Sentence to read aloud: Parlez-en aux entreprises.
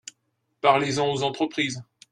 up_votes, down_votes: 2, 0